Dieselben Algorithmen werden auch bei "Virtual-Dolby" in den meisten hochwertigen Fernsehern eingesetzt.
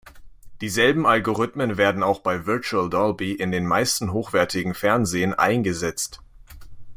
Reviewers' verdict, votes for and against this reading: rejected, 1, 2